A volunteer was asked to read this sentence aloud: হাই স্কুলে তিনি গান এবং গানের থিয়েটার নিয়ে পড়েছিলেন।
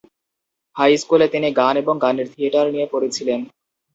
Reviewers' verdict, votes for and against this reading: accepted, 4, 0